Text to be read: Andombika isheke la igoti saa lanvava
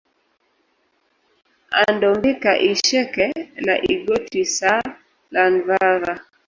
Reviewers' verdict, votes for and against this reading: rejected, 1, 2